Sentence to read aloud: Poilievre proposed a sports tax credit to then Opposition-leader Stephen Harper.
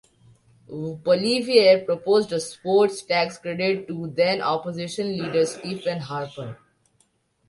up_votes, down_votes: 2, 1